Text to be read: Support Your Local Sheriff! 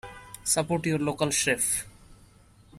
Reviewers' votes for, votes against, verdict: 1, 2, rejected